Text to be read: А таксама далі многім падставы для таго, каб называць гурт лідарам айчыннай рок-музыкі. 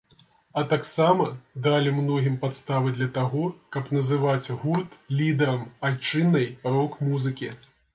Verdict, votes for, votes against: accepted, 2, 0